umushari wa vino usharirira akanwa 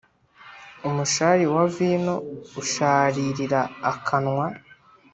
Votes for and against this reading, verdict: 2, 0, accepted